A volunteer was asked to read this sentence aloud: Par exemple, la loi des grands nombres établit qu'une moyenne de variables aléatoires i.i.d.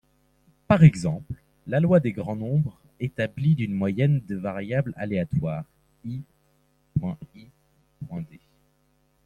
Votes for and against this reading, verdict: 1, 2, rejected